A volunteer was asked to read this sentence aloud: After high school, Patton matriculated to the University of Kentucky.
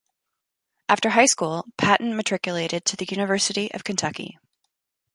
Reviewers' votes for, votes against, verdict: 2, 0, accepted